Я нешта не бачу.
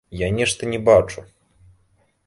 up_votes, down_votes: 2, 0